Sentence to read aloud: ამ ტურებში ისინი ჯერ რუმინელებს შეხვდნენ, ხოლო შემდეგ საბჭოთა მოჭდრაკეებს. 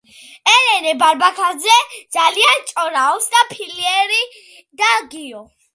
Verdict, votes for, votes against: rejected, 0, 2